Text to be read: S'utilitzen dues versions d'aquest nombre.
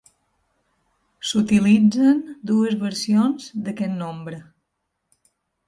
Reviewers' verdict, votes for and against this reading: accepted, 2, 0